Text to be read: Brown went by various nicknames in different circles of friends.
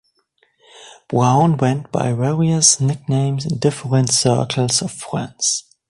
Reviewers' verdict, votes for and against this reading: accepted, 2, 0